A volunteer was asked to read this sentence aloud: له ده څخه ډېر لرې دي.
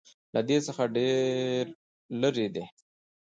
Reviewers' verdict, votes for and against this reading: rejected, 1, 2